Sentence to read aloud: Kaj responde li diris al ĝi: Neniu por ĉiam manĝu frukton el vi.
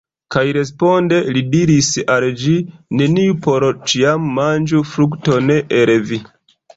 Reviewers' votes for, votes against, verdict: 1, 2, rejected